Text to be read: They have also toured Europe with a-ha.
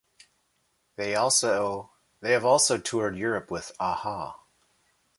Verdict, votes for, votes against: rejected, 1, 2